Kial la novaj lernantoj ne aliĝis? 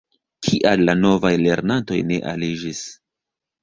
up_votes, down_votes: 0, 2